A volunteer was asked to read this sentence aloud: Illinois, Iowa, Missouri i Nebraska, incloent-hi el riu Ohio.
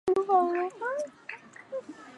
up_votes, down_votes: 0, 4